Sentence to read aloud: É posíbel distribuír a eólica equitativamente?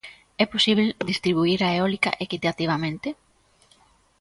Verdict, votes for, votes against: accepted, 2, 0